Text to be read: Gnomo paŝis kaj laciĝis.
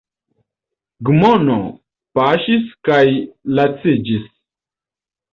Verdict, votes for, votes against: rejected, 3, 4